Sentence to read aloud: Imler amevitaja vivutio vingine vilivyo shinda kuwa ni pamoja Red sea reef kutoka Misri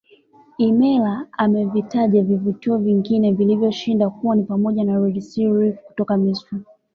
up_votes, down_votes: 2, 0